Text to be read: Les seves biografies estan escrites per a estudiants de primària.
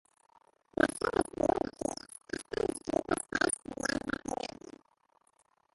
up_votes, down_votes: 0, 2